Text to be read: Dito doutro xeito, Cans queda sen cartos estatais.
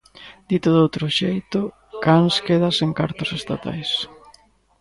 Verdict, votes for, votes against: accepted, 2, 0